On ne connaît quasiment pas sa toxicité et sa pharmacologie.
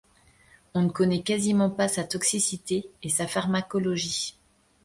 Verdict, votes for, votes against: accepted, 2, 0